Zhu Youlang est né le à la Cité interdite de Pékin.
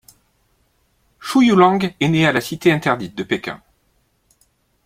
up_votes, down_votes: 1, 2